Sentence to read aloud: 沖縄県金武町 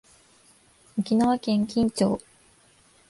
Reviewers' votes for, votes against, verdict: 2, 0, accepted